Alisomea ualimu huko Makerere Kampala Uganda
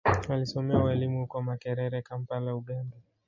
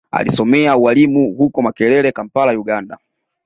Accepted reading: second